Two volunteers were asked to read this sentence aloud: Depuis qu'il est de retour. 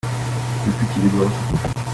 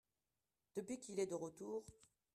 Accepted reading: second